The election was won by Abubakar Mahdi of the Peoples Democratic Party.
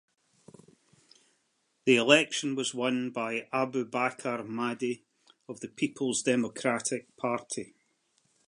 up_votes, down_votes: 2, 0